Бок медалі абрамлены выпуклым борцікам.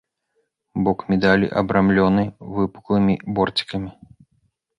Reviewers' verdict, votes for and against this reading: rejected, 0, 2